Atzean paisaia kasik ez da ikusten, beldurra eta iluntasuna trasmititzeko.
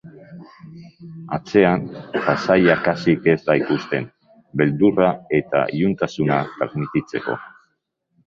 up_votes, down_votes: 0, 2